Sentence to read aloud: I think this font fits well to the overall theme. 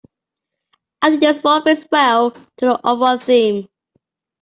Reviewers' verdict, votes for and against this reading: rejected, 0, 2